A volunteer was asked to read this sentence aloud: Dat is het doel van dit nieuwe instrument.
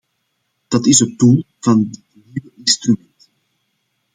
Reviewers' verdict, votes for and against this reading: rejected, 0, 2